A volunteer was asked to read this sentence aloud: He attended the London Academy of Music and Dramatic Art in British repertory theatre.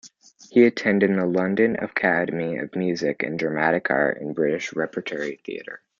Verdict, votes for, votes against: rejected, 1, 2